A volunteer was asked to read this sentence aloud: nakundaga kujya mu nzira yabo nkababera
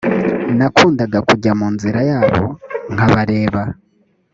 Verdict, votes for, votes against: rejected, 0, 2